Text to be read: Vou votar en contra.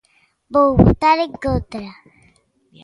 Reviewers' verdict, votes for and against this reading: accepted, 2, 1